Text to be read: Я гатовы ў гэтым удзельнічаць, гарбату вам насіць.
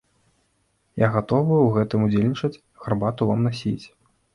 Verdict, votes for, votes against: accepted, 2, 0